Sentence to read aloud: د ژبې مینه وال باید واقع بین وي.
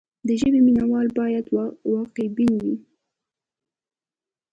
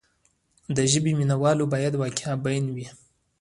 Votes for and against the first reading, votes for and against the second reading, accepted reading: 1, 2, 2, 1, second